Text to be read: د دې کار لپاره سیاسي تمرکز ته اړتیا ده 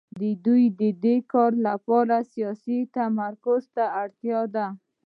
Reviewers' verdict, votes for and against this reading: rejected, 1, 2